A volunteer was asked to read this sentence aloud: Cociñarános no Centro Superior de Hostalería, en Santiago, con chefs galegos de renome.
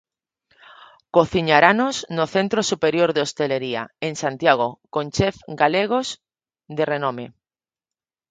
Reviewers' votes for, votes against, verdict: 0, 2, rejected